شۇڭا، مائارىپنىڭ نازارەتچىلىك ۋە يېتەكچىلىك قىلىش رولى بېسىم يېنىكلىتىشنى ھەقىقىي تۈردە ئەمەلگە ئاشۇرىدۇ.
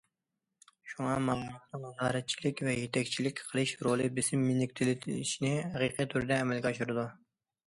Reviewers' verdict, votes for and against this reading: rejected, 0, 2